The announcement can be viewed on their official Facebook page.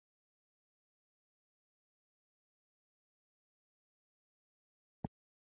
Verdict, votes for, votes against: rejected, 0, 2